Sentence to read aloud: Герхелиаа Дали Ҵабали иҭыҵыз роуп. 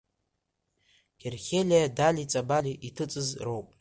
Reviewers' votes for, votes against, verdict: 1, 2, rejected